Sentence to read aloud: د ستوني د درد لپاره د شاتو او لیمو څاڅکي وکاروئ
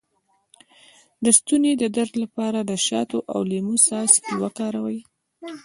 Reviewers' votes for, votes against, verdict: 0, 2, rejected